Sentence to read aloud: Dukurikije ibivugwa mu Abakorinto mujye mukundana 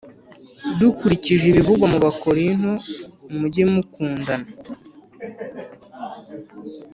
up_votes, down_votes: 3, 0